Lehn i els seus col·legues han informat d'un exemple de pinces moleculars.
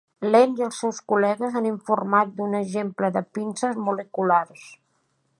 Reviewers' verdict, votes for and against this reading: accepted, 2, 0